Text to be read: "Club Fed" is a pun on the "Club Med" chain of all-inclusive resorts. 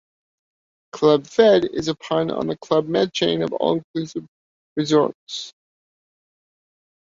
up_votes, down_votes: 2, 0